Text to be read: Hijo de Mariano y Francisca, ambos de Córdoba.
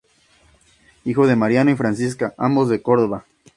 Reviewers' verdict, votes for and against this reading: accepted, 2, 0